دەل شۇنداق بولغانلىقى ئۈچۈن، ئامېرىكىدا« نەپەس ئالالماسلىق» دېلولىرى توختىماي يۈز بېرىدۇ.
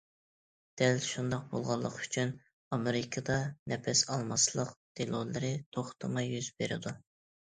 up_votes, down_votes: 1, 2